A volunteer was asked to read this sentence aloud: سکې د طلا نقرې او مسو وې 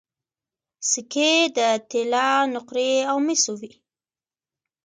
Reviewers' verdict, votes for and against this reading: rejected, 1, 2